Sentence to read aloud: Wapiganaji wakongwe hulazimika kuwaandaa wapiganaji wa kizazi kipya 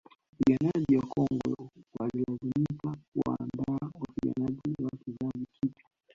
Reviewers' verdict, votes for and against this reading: rejected, 1, 2